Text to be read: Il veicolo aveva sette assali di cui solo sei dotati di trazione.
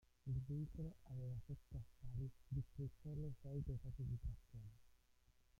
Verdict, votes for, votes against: rejected, 0, 2